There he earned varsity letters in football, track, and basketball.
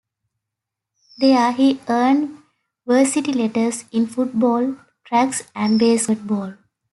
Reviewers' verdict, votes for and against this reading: rejected, 2, 3